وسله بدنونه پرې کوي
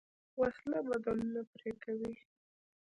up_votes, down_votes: 1, 2